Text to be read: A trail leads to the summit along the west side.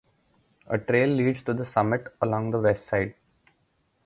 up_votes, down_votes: 4, 0